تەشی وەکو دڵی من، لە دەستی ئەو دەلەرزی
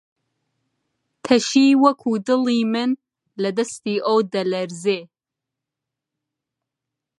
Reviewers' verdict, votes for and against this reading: accepted, 2, 0